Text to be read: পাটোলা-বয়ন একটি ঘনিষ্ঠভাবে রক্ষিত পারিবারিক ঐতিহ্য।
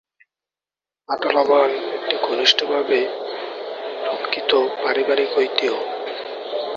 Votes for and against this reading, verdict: 0, 2, rejected